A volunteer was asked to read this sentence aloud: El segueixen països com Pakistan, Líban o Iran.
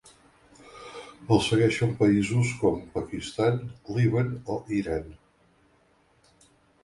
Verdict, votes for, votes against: accepted, 2, 0